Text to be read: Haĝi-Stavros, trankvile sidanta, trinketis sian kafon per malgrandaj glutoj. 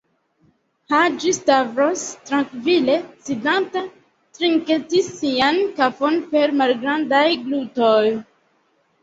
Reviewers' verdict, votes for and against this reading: accepted, 2, 1